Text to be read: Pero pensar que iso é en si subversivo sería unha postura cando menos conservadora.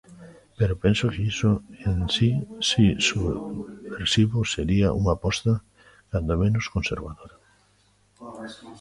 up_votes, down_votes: 0, 2